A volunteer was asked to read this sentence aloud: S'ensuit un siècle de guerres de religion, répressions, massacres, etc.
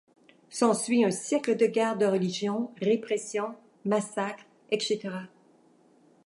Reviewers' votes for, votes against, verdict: 2, 1, accepted